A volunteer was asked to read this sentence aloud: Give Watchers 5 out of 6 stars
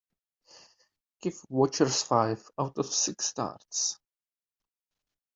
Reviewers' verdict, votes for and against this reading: rejected, 0, 2